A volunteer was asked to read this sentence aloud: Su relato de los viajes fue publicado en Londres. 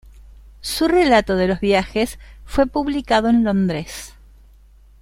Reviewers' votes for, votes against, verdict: 2, 0, accepted